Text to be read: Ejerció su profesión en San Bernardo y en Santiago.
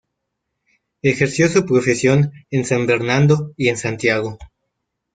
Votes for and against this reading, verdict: 1, 2, rejected